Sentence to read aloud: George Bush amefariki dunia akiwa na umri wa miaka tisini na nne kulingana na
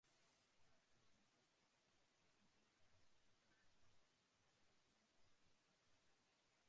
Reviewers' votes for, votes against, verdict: 0, 2, rejected